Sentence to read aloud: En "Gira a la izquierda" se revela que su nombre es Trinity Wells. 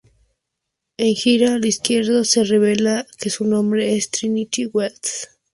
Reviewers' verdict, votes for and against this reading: accepted, 2, 0